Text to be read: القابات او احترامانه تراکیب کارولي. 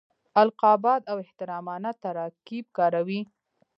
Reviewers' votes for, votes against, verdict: 0, 2, rejected